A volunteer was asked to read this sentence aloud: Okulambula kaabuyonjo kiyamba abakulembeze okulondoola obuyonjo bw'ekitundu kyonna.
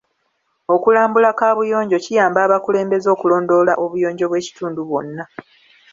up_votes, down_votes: 2, 0